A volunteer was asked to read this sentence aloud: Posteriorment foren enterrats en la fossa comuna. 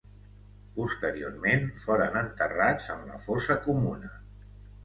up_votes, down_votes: 3, 0